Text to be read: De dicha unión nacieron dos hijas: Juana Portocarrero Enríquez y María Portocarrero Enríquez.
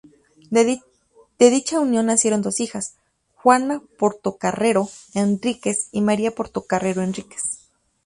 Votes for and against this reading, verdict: 2, 0, accepted